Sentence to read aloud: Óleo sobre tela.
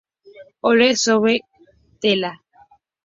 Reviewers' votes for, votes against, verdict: 0, 2, rejected